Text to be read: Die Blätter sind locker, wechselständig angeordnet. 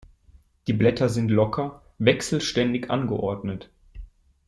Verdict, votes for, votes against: accepted, 2, 0